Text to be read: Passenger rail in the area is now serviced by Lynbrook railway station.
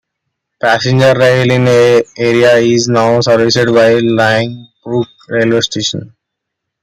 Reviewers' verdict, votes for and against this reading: accepted, 2, 1